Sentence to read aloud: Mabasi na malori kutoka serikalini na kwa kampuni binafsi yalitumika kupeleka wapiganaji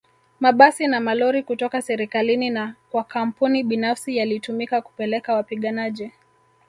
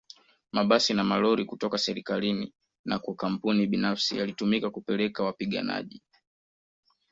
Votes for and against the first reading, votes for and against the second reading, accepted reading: 1, 2, 2, 0, second